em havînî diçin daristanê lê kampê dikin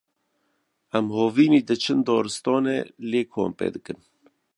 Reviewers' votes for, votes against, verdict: 2, 0, accepted